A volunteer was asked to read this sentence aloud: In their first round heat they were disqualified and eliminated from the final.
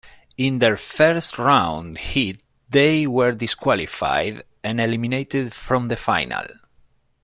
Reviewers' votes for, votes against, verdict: 1, 2, rejected